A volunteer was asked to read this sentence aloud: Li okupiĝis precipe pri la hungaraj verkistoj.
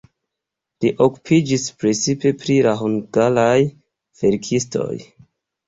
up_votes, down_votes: 1, 2